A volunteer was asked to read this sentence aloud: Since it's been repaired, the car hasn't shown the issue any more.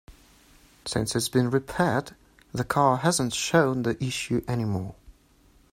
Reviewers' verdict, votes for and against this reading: accepted, 2, 0